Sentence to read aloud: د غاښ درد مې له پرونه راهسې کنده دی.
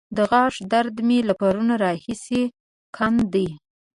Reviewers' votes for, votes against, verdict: 1, 2, rejected